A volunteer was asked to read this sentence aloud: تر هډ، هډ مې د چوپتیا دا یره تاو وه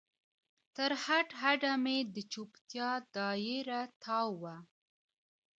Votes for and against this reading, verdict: 2, 1, accepted